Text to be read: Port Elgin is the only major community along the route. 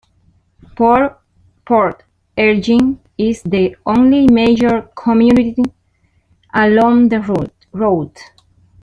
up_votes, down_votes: 0, 2